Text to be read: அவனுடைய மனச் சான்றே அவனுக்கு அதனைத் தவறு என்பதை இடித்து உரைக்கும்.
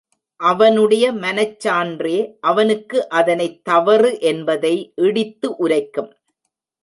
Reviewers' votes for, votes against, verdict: 0, 2, rejected